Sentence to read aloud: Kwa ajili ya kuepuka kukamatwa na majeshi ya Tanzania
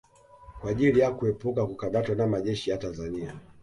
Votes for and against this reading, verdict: 2, 0, accepted